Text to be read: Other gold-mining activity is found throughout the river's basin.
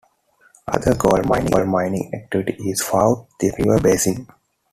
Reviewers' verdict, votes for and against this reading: rejected, 0, 2